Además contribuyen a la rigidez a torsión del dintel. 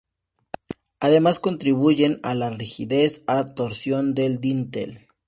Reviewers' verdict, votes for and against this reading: accepted, 4, 0